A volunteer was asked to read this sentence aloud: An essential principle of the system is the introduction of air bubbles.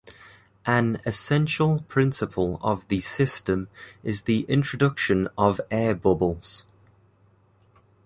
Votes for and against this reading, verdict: 2, 0, accepted